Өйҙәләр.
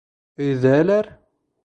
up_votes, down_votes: 0, 2